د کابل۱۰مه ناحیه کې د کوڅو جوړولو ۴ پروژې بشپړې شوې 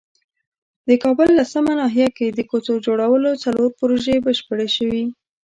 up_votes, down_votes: 0, 2